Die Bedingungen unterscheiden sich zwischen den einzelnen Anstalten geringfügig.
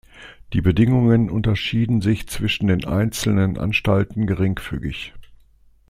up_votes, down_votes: 0, 2